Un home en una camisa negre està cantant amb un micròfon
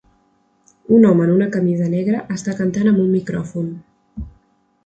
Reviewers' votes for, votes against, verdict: 2, 0, accepted